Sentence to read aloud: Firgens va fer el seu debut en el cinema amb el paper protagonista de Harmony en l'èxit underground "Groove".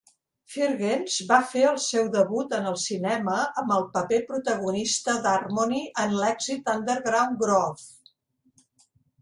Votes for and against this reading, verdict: 2, 0, accepted